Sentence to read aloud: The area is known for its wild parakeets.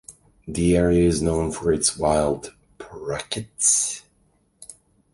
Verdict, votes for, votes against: rejected, 1, 2